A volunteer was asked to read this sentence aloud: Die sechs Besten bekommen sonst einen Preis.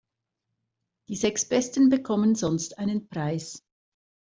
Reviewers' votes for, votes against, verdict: 2, 0, accepted